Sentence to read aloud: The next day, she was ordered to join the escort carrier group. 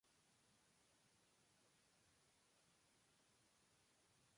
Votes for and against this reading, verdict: 0, 2, rejected